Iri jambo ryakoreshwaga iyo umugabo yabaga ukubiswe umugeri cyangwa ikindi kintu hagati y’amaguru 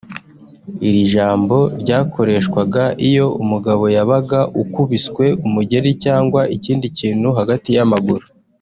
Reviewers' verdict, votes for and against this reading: rejected, 0, 2